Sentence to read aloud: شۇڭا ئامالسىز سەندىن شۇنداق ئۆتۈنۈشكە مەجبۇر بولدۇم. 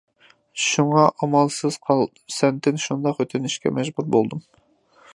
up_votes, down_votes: 0, 2